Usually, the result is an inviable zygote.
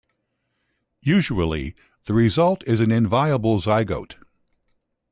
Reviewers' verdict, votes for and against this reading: accepted, 2, 0